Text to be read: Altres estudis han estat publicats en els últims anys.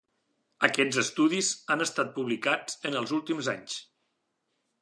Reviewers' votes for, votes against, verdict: 0, 2, rejected